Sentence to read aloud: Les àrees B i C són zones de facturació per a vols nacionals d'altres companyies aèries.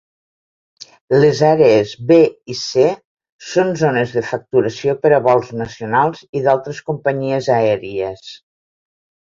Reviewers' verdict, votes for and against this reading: rejected, 1, 2